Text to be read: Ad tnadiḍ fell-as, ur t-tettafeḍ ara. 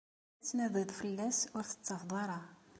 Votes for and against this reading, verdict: 2, 0, accepted